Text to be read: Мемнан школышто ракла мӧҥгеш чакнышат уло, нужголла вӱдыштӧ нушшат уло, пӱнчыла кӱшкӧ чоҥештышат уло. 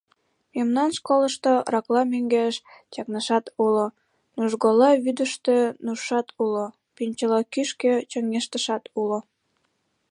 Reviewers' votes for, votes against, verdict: 2, 3, rejected